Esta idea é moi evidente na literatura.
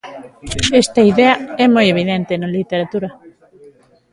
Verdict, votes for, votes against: rejected, 0, 2